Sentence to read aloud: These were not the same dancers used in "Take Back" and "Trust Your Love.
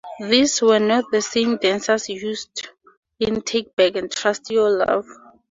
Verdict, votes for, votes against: accepted, 2, 0